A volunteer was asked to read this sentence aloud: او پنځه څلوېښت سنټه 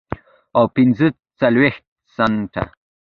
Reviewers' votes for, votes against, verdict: 1, 2, rejected